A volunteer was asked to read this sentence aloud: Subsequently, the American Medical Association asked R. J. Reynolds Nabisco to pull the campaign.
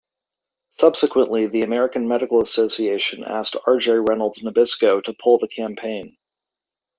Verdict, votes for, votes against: accepted, 2, 0